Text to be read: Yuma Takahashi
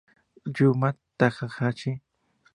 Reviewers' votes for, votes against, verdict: 4, 0, accepted